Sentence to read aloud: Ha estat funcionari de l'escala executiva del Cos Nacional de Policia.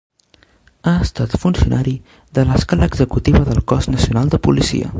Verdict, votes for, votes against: rejected, 1, 2